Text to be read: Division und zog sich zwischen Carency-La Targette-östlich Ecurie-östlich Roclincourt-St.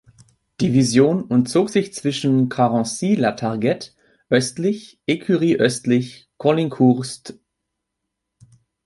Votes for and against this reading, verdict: 2, 1, accepted